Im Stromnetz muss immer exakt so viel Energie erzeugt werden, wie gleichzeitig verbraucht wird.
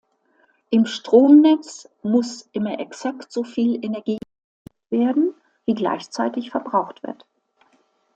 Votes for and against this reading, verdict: 1, 2, rejected